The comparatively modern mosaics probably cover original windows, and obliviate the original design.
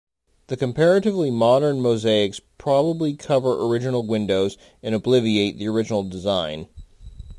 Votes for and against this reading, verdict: 1, 2, rejected